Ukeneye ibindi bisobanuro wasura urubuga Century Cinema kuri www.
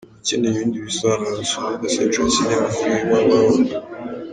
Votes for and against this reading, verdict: 2, 0, accepted